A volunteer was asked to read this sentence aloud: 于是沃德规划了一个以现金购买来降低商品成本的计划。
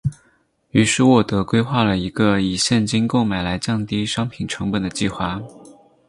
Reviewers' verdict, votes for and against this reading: accepted, 4, 2